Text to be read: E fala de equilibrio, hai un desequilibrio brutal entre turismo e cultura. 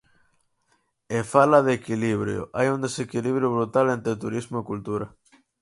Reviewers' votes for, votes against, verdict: 4, 0, accepted